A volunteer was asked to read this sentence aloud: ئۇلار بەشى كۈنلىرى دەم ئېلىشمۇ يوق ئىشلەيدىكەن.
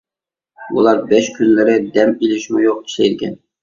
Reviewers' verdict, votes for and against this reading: rejected, 0, 2